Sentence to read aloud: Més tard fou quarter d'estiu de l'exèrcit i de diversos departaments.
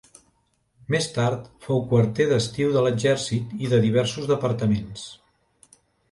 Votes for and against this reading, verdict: 2, 0, accepted